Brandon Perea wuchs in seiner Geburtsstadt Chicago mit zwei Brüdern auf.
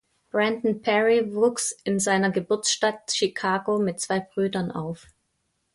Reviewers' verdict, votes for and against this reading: accepted, 2, 0